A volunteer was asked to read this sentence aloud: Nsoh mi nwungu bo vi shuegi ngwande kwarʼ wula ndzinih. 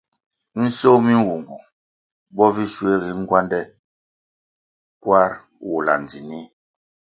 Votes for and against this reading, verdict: 2, 0, accepted